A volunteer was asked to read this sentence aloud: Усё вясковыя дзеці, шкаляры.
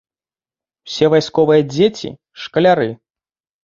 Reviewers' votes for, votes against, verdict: 1, 2, rejected